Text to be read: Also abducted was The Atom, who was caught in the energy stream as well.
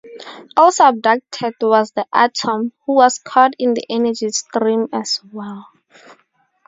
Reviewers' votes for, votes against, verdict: 2, 0, accepted